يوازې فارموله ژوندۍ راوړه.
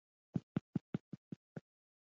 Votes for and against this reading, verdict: 1, 2, rejected